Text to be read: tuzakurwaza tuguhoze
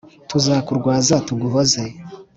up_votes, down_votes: 3, 0